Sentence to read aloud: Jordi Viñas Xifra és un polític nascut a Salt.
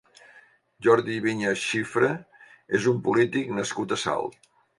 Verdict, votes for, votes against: accepted, 2, 0